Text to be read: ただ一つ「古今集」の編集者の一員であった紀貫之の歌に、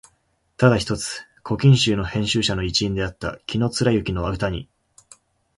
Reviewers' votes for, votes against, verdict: 2, 1, accepted